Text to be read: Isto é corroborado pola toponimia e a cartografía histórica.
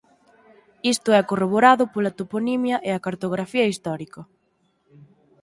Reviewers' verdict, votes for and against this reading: accepted, 6, 0